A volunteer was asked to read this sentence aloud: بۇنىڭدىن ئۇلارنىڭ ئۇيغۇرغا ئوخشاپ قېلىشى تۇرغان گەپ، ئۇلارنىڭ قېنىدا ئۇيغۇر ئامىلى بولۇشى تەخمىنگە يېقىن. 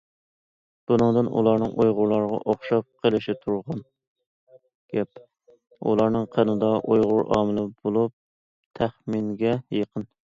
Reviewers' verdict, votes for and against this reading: rejected, 0, 2